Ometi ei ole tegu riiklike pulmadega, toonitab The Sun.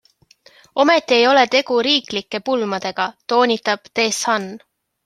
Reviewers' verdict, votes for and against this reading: accepted, 3, 0